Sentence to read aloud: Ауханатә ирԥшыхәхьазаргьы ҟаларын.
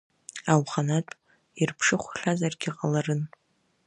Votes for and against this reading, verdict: 1, 2, rejected